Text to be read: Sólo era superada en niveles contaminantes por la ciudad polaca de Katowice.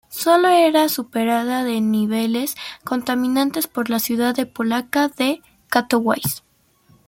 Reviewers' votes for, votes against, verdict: 0, 2, rejected